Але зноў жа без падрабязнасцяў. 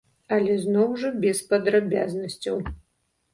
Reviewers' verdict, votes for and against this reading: rejected, 1, 2